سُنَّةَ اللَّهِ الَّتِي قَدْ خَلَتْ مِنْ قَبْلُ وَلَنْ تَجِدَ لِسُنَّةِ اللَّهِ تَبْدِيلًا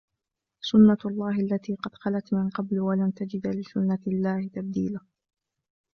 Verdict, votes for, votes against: accepted, 2, 0